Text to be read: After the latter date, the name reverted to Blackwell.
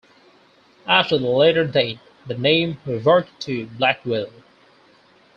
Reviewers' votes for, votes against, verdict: 4, 0, accepted